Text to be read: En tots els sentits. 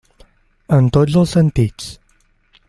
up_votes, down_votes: 3, 0